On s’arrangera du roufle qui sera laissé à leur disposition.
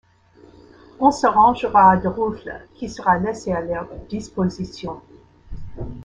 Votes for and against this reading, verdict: 1, 2, rejected